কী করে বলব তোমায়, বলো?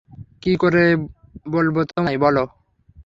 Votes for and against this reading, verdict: 0, 3, rejected